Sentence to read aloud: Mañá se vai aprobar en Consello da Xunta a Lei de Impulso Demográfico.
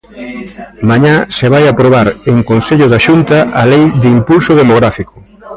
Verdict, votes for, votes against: rejected, 0, 2